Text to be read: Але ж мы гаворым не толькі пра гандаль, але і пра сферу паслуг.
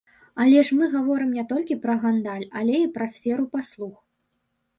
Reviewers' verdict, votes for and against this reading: rejected, 0, 2